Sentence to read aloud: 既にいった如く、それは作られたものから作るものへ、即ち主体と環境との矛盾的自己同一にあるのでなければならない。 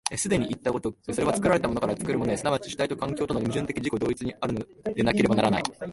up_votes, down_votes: 2, 0